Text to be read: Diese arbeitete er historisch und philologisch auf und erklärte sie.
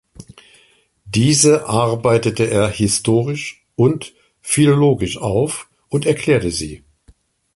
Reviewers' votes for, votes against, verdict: 2, 0, accepted